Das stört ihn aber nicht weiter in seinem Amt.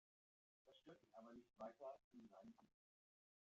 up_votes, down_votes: 0, 2